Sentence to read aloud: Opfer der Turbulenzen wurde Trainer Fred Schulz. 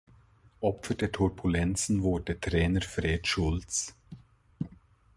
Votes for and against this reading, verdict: 2, 0, accepted